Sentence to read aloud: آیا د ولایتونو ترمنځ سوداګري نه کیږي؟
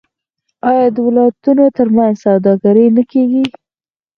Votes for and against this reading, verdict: 4, 0, accepted